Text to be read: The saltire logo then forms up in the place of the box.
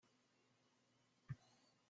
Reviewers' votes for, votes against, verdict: 0, 2, rejected